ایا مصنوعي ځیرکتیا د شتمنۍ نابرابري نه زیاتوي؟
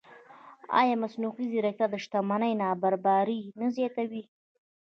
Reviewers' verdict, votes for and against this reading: rejected, 1, 2